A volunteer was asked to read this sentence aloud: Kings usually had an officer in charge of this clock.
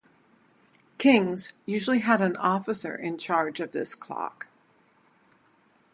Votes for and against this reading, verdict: 2, 2, rejected